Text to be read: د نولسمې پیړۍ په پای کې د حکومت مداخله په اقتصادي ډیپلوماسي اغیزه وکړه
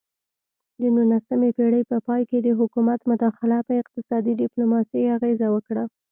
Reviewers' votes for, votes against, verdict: 2, 0, accepted